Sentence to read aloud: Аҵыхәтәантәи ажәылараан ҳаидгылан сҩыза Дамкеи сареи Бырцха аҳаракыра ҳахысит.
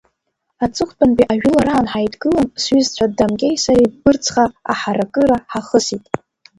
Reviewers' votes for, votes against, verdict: 0, 2, rejected